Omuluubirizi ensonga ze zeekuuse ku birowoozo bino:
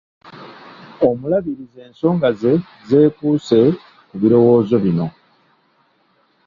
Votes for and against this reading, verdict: 1, 2, rejected